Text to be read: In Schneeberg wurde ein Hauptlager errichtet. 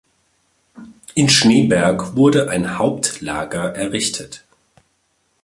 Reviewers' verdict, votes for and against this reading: accepted, 2, 1